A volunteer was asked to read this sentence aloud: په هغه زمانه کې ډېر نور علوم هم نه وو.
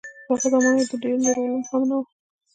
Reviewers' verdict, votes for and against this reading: rejected, 0, 2